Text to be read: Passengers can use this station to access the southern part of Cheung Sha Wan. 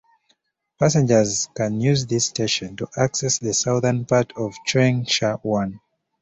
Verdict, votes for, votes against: accepted, 2, 1